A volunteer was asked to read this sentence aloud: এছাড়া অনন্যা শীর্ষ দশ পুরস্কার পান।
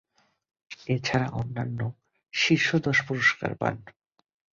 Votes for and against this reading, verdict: 1, 2, rejected